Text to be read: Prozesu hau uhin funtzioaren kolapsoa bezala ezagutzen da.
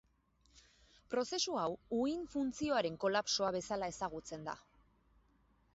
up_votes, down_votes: 0, 2